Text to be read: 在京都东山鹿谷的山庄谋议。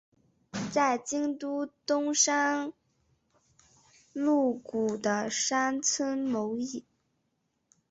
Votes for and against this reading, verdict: 4, 3, accepted